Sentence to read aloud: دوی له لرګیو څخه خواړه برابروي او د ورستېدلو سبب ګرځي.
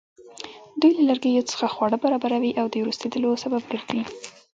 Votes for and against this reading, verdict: 0, 2, rejected